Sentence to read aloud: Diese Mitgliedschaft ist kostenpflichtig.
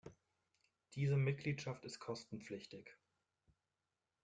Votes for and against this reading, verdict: 1, 3, rejected